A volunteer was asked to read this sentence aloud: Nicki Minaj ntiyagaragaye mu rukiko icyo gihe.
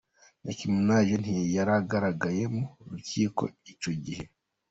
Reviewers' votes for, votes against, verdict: 1, 2, rejected